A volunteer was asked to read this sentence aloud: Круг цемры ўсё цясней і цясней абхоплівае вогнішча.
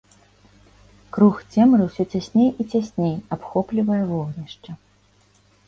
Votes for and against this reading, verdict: 2, 0, accepted